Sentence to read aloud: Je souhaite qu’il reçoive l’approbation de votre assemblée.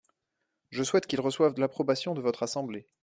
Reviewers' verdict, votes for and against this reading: accepted, 2, 0